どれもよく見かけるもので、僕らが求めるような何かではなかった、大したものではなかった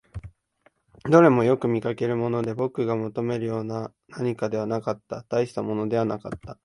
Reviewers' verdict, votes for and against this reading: rejected, 1, 2